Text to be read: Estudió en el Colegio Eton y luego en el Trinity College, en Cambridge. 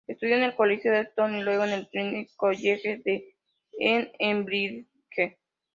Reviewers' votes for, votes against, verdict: 0, 3, rejected